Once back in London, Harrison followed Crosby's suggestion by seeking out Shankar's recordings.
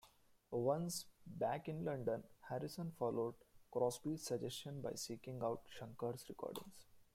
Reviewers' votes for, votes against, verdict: 0, 2, rejected